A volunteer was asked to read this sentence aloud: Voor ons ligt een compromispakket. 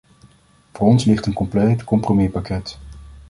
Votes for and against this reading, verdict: 0, 2, rejected